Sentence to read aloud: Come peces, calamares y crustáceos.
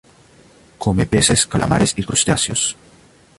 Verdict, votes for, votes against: accepted, 2, 0